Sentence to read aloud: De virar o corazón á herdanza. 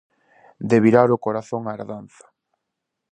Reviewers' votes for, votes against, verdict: 2, 0, accepted